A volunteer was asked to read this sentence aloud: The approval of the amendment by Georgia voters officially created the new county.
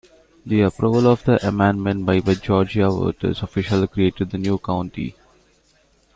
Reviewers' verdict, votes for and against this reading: rejected, 0, 2